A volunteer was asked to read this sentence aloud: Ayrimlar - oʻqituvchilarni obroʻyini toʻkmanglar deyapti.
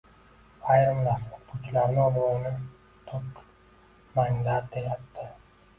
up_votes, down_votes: 0, 2